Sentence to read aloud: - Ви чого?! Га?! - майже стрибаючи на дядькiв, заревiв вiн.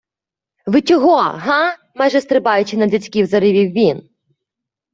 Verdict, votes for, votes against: accepted, 2, 0